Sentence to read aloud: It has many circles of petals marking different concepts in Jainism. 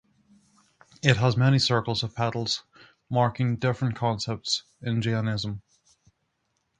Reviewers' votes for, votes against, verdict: 3, 0, accepted